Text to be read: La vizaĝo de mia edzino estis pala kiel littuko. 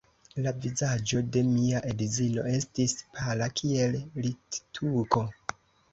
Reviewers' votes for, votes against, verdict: 2, 0, accepted